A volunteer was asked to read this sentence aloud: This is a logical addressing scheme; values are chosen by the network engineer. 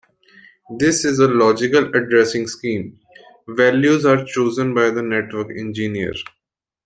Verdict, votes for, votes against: accepted, 2, 0